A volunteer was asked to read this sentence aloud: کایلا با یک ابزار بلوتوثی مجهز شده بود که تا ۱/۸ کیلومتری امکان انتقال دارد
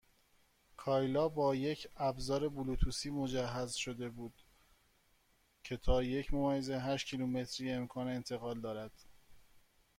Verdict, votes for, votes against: rejected, 0, 2